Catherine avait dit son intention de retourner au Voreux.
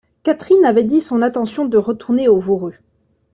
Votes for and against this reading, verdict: 0, 2, rejected